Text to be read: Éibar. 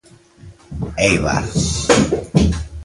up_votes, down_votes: 2, 1